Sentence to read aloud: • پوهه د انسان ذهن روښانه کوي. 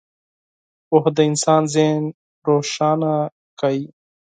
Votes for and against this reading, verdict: 4, 0, accepted